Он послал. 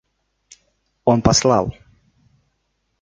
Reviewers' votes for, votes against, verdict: 2, 1, accepted